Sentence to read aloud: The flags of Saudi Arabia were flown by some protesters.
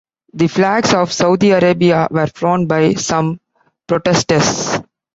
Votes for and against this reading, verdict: 2, 0, accepted